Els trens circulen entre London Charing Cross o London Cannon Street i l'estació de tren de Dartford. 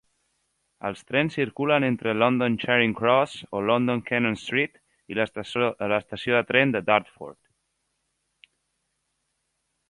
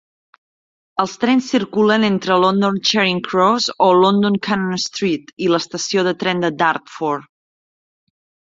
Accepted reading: second